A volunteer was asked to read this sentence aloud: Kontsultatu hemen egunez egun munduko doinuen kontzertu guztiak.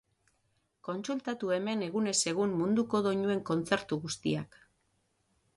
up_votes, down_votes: 6, 0